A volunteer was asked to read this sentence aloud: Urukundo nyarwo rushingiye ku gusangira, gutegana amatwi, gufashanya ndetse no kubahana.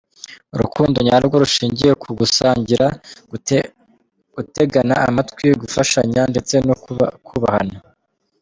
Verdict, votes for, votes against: rejected, 0, 3